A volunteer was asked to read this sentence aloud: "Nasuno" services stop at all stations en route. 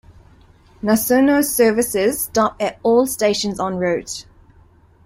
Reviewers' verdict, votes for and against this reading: accepted, 2, 0